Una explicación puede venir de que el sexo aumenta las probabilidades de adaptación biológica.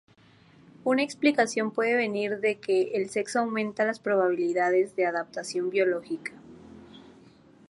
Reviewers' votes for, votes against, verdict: 2, 0, accepted